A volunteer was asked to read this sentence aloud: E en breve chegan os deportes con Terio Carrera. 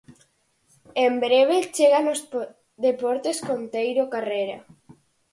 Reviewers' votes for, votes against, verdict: 0, 4, rejected